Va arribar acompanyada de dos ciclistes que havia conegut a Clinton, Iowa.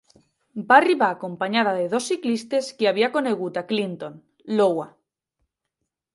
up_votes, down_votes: 2, 0